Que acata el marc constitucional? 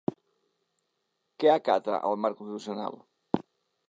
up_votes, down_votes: 0, 2